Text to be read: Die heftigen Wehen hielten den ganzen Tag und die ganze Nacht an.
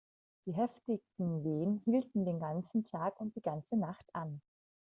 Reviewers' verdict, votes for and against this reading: rejected, 1, 2